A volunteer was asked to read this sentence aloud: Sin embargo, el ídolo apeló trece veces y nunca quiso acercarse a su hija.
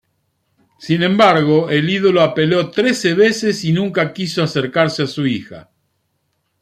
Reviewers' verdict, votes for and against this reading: accepted, 2, 0